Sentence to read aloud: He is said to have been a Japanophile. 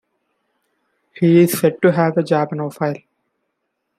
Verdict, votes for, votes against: rejected, 0, 2